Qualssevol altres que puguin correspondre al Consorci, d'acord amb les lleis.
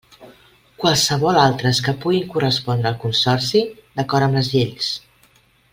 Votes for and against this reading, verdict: 2, 0, accepted